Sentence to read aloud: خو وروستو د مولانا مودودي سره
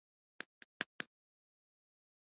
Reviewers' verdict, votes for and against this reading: rejected, 1, 2